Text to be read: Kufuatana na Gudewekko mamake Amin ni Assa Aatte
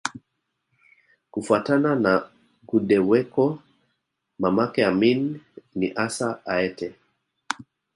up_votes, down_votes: 2, 1